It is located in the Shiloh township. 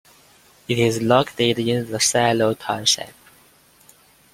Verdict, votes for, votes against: accepted, 2, 0